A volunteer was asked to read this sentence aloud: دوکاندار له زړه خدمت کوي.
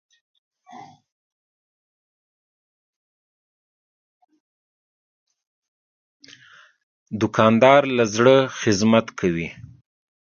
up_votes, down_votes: 2, 1